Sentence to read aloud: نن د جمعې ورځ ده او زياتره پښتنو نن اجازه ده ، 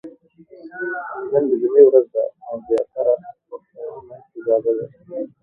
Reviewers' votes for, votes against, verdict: 0, 2, rejected